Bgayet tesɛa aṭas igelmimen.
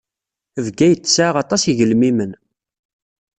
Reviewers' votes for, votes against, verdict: 0, 2, rejected